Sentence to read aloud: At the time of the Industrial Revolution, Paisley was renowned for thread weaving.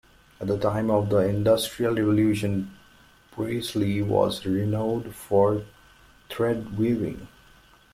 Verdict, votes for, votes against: rejected, 1, 2